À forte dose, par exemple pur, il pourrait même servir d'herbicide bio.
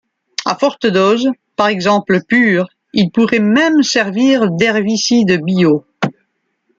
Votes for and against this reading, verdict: 2, 0, accepted